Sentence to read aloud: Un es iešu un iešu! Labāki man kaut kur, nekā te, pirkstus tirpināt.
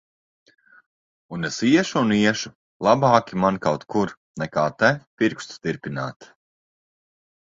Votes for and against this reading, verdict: 2, 0, accepted